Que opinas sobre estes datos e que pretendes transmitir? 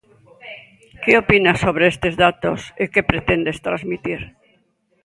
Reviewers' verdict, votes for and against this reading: accepted, 2, 1